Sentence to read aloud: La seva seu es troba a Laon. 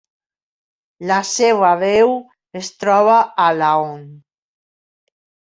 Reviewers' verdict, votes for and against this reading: rejected, 0, 2